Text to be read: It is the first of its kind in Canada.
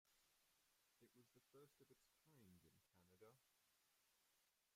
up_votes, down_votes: 0, 2